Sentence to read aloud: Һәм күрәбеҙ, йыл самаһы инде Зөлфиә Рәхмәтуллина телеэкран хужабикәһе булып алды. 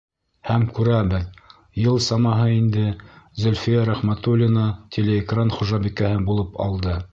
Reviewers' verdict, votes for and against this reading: accepted, 2, 0